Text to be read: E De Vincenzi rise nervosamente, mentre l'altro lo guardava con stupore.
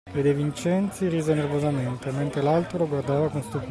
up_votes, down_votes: 1, 2